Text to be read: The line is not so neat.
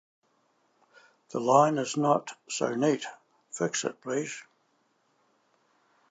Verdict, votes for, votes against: rejected, 0, 2